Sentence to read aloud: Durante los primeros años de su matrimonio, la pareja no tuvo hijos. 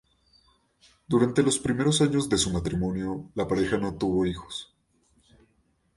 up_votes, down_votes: 2, 0